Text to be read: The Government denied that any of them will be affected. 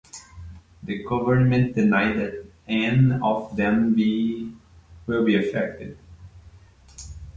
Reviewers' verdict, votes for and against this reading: rejected, 0, 3